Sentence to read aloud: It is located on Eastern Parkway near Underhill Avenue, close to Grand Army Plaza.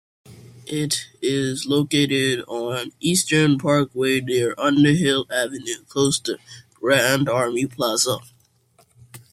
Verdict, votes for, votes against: accepted, 2, 0